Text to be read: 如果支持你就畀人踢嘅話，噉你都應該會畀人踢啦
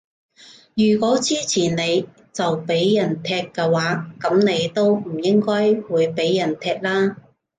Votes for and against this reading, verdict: 1, 2, rejected